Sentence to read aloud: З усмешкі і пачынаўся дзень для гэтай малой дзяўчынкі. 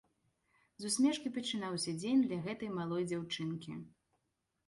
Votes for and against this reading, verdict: 2, 0, accepted